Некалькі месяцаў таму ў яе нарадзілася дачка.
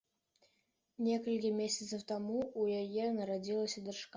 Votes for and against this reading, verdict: 2, 0, accepted